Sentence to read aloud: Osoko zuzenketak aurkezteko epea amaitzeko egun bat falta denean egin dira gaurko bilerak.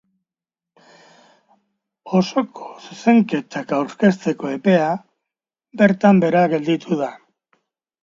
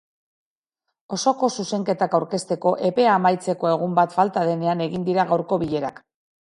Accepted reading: second